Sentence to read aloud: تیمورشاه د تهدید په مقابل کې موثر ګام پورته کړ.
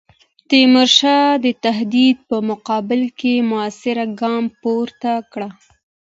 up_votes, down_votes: 2, 0